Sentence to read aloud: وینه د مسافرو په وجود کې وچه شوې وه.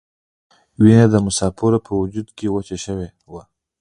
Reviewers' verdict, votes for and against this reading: rejected, 0, 2